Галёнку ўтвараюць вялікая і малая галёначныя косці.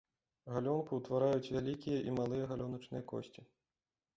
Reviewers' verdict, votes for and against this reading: rejected, 0, 2